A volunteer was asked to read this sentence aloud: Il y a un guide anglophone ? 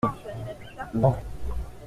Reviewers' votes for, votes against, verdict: 0, 2, rejected